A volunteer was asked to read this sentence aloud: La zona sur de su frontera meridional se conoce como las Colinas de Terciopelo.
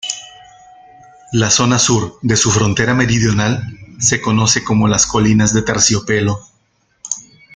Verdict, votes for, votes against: rejected, 1, 2